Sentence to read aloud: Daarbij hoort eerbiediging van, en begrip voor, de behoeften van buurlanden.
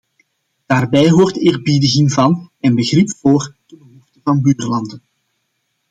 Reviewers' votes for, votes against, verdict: 0, 2, rejected